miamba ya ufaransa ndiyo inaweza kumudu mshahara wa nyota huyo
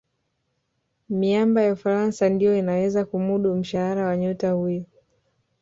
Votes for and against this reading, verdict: 4, 0, accepted